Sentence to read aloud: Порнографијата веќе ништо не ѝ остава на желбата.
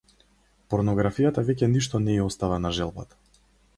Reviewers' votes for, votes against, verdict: 4, 0, accepted